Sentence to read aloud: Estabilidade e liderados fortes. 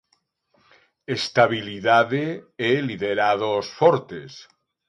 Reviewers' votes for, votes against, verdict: 5, 0, accepted